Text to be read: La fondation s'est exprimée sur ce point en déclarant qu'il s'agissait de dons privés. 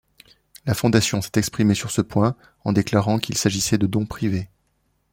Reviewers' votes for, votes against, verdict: 1, 2, rejected